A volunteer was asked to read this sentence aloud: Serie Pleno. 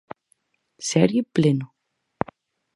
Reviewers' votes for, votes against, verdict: 4, 0, accepted